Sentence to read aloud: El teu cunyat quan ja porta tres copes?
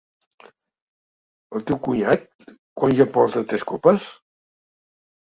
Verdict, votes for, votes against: accepted, 2, 1